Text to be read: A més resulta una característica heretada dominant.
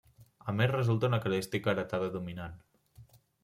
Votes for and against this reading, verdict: 1, 2, rejected